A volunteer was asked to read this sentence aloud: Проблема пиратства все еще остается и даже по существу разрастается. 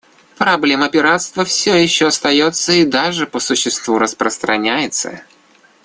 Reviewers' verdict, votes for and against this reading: rejected, 0, 2